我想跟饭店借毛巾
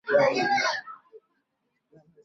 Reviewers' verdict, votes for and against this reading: rejected, 0, 3